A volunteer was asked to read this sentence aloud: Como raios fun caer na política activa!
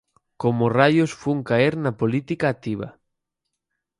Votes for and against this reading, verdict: 8, 0, accepted